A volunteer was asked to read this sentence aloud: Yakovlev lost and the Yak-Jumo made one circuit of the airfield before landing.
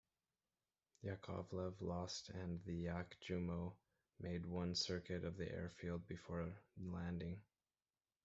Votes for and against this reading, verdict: 1, 2, rejected